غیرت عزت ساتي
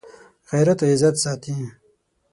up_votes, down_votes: 6, 0